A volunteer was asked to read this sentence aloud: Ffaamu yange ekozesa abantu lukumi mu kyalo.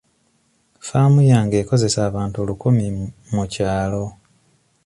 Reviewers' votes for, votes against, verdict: 2, 0, accepted